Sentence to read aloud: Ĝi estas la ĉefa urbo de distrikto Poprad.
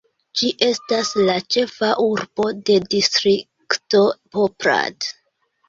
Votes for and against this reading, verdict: 2, 1, accepted